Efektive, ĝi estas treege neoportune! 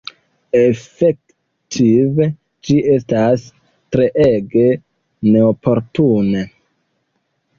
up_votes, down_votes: 0, 2